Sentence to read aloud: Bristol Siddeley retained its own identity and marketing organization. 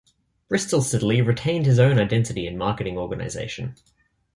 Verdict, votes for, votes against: accepted, 2, 0